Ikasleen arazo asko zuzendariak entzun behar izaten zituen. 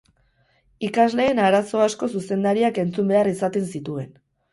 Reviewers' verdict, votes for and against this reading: accepted, 4, 0